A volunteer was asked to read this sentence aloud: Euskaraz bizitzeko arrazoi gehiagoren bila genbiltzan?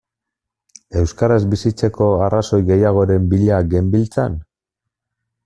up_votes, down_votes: 2, 0